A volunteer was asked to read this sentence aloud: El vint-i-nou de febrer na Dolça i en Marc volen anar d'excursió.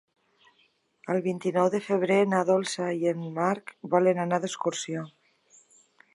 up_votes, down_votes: 3, 0